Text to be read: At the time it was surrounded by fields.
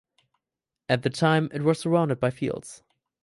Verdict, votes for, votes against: accepted, 4, 2